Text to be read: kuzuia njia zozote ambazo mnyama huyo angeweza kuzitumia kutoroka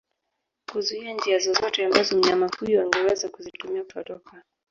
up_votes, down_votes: 1, 3